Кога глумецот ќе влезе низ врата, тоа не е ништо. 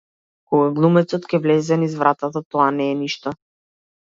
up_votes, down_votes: 0, 2